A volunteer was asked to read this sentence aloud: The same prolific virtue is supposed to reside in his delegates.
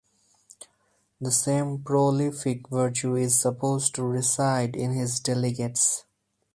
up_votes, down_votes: 4, 0